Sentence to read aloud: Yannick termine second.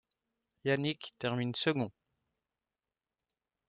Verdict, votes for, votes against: accepted, 2, 0